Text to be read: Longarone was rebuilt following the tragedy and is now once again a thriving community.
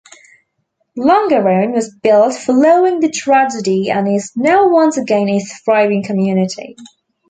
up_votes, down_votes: 0, 2